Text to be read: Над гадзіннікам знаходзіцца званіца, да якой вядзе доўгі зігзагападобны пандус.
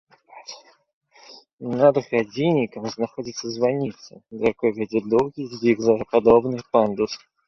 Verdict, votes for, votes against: accepted, 2, 0